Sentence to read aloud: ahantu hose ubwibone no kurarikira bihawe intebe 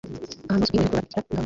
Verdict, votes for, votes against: rejected, 1, 2